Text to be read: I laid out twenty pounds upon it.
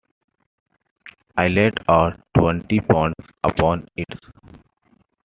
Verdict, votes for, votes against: accepted, 2, 0